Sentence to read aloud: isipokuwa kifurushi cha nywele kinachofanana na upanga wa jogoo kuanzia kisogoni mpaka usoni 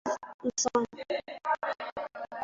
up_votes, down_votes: 0, 2